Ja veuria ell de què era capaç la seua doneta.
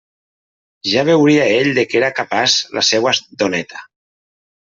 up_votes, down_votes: 0, 2